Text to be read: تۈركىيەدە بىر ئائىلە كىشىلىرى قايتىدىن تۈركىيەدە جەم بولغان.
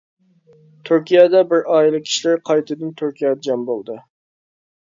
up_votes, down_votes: 1, 2